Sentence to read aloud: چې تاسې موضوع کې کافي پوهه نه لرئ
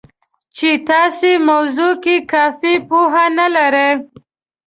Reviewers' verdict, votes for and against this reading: rejected, 1, 2